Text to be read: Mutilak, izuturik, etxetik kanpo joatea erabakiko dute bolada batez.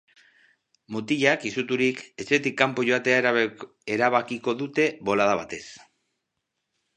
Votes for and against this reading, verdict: 0, 2, rejected